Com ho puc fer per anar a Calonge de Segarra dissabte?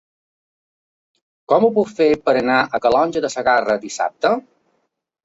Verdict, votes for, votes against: accepted, 2, 0